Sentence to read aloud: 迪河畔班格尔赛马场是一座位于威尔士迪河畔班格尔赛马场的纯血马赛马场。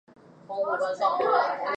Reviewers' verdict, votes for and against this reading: rejected, 0, 2